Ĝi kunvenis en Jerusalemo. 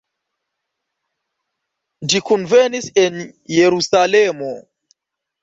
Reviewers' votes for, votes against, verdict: 3, 1, accepted